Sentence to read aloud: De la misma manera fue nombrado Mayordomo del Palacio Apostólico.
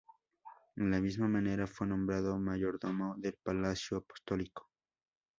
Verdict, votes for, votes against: rejected, 2, 4